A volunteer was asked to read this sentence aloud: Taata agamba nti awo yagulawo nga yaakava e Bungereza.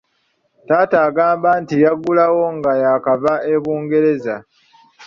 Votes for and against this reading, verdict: 0, 2, rejected